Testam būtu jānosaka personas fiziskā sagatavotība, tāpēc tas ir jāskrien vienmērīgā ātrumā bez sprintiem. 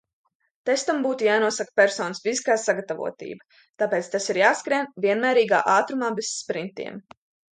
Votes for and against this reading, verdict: 2, 0, accepted